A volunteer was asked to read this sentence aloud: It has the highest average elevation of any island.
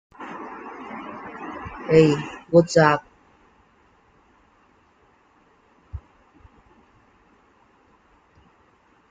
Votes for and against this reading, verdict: 0, 2, rejected